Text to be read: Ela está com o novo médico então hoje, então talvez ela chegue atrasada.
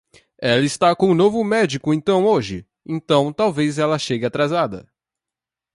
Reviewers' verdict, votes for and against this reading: accepted, 2, 1